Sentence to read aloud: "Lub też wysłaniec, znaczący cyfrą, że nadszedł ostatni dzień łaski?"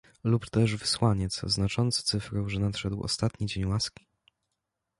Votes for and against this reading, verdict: 2, 1, accepted